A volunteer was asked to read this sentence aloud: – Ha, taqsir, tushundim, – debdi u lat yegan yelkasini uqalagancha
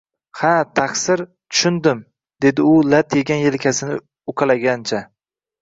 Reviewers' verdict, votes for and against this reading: accepted, 2, 0